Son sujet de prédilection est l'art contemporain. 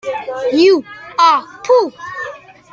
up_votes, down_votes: 0, 2